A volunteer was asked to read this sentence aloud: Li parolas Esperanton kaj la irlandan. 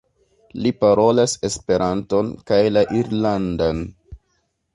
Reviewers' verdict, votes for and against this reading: accepted, 2, 0